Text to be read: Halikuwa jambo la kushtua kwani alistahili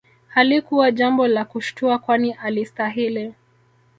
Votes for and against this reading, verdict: 1, 2, rejected